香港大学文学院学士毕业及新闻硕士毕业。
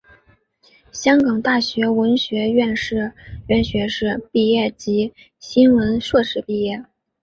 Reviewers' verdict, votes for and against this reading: rejected, 1, 2